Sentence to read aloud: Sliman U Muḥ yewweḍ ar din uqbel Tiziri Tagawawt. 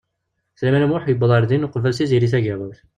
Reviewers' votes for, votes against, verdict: 1, 2, rejected